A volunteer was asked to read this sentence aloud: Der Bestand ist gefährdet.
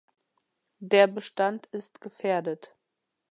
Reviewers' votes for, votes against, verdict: 2, 0, accepted